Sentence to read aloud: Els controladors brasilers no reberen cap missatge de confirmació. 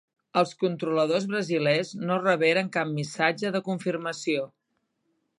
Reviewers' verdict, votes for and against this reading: accepted, 2, 0